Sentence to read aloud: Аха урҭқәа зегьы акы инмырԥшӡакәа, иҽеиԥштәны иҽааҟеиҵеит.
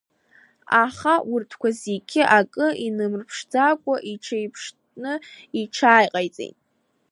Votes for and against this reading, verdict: 1, 2, rejected